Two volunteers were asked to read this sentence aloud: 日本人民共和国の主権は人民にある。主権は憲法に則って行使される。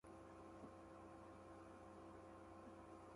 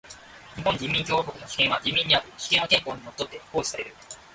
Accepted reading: second